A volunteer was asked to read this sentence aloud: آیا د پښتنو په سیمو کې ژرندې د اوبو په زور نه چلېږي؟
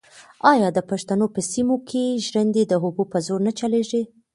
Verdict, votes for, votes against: rejected, 1, 2